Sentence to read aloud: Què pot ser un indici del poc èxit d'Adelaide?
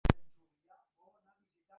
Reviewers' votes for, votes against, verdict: 0, 2, rejected